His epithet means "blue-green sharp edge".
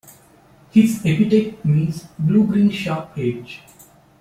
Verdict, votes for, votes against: accepted, 2, 0